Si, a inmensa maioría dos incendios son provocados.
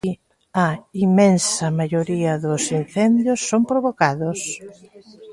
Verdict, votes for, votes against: rejected, 0, 2